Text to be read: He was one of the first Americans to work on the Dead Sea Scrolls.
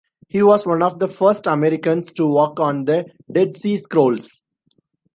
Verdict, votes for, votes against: accepted, 2, 0